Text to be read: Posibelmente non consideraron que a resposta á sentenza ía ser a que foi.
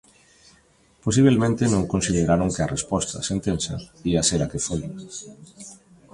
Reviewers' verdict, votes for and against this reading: rejected, 1, 2